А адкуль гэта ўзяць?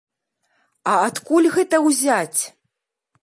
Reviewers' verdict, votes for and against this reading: accepted, 2, 0